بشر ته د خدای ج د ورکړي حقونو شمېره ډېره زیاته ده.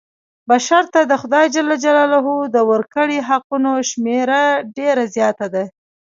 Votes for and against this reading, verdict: 2, 1, accepted